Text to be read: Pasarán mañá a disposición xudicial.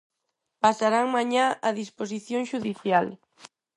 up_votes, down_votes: 4, 0